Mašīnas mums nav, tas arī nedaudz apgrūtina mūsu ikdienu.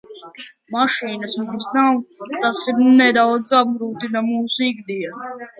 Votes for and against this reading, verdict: 0, 2, rejected